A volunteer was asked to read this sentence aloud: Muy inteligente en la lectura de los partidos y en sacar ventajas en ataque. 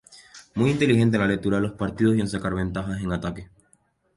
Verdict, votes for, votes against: rejected, 0, 2